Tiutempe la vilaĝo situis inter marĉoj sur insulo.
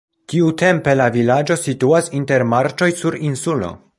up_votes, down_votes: 0, 2